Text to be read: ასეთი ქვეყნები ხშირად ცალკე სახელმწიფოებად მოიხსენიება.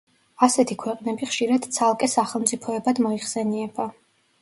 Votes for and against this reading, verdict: 2, 0, accepted